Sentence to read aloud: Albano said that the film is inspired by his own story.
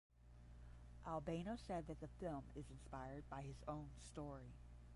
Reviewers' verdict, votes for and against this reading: rejected, 5, 5